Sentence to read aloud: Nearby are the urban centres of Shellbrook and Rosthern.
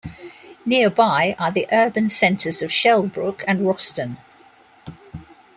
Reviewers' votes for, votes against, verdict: 2, 1, accepted